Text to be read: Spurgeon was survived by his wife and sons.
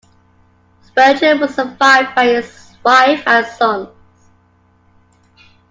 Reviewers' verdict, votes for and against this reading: accepted, 2, 0